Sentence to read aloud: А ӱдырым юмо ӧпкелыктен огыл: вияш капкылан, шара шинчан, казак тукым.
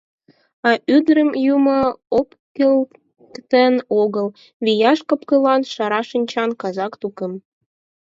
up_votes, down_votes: 4, 0